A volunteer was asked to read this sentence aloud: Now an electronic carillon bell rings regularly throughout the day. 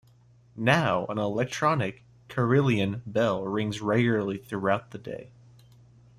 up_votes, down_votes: 1, 2